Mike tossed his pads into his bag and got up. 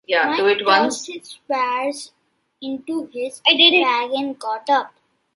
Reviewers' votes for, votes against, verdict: 0, 2, rejected